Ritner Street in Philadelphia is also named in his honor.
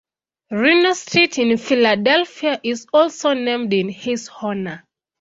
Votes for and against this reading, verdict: 0, 2, rejected